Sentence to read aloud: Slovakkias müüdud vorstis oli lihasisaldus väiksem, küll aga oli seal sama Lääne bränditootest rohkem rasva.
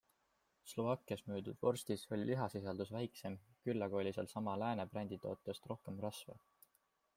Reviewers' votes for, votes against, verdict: 2, 1, accepted